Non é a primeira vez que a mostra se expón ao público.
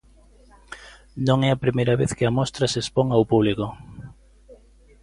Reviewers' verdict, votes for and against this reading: accepted, 2, 0